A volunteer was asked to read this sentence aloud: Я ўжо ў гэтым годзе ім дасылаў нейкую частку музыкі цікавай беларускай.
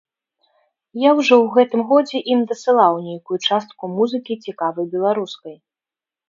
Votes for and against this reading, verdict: 3, 0, accepted